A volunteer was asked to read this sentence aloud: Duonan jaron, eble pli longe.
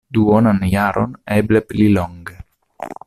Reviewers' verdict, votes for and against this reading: accepted, 2, 0